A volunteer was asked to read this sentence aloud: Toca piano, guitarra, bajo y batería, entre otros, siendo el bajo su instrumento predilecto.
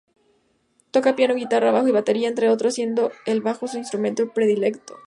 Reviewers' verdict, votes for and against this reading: accepted, 2, 0